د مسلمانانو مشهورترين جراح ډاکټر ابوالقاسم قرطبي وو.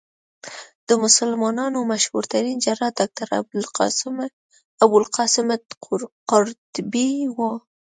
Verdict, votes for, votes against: rejected, 0, 2